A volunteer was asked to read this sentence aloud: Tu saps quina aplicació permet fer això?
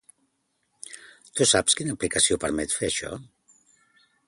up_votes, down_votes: 2, 0